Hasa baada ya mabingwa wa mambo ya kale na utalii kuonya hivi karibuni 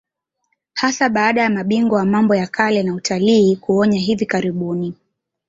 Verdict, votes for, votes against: accepted, 2, 1